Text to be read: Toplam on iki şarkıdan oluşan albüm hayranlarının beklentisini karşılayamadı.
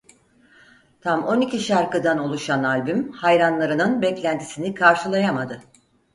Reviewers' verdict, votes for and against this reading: rejected, 0, 4